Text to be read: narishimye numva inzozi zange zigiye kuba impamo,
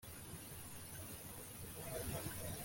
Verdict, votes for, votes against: rejected, 1, 2